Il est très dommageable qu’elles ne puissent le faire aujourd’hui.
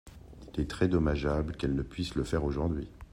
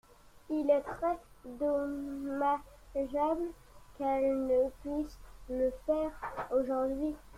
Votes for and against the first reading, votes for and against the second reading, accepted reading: 2, 0, 1, 2, first